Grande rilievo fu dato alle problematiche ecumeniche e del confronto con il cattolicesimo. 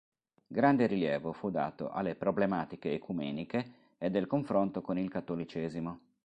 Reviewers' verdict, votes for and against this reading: accepted, 3, 0